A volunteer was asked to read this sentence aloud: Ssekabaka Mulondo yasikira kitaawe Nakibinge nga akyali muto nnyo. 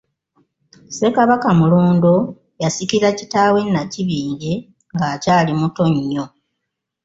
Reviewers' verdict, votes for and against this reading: accepted, 2, 0